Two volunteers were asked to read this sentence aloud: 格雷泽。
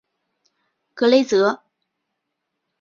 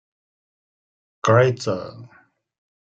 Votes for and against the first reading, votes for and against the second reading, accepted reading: 2, 1, 0, 2, first